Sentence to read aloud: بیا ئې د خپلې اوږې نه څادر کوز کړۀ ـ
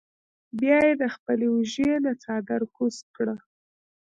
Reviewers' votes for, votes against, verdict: 1, 2, rejected